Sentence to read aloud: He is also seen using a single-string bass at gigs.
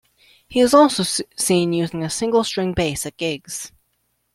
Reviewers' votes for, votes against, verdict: 1, 2, rejected